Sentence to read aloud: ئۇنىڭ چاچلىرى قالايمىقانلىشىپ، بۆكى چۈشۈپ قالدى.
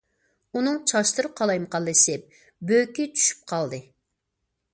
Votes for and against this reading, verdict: 1, 2, rejected